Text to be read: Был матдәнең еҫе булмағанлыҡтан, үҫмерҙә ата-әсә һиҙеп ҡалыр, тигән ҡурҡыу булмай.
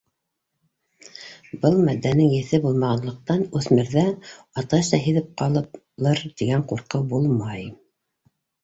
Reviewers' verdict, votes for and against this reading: accepted, 2, 0